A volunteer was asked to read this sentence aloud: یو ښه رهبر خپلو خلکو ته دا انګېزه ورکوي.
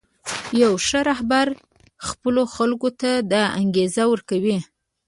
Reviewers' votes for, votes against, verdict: 1, 2, rejected